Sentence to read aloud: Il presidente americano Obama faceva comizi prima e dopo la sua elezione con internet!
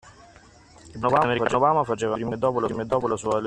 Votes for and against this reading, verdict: 0, 2, rejected